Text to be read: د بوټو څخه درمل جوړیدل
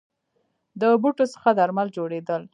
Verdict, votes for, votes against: accepted, 2, 0